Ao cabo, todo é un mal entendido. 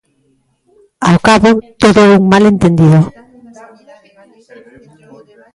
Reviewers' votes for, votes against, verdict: 0, 2, rejected